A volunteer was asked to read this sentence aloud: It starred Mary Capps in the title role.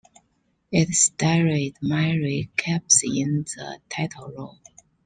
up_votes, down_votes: 1, 2